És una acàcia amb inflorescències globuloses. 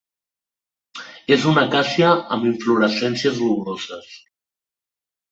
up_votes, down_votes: 0, 2